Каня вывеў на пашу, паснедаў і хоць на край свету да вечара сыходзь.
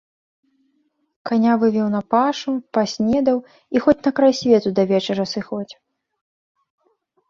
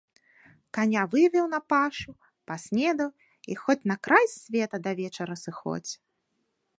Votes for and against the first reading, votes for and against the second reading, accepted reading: 2, 0, 0, 2, first